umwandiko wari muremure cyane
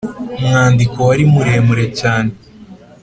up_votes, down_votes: 2, 0